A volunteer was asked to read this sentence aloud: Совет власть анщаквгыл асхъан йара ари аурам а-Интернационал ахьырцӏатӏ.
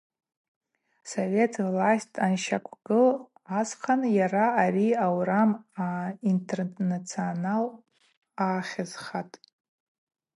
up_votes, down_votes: 0, 4